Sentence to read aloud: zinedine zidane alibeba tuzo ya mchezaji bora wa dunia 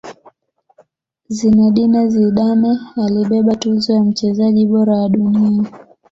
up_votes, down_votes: 2, 0